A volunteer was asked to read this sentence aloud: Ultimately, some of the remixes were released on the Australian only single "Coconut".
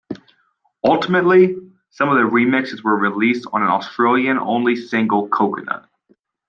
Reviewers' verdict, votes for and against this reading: rejected, 1, 2